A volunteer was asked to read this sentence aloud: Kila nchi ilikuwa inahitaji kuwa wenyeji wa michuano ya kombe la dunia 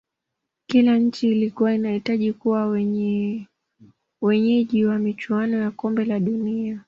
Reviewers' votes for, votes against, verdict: 1, 2, rejected